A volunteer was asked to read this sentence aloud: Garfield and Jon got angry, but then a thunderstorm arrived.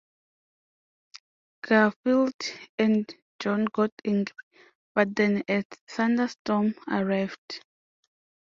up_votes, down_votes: 2, 0